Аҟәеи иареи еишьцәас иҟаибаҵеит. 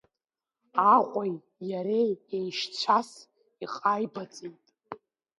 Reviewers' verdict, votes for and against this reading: rejected, 1, 2